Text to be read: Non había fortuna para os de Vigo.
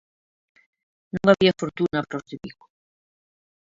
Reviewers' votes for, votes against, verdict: 0, 2, rejected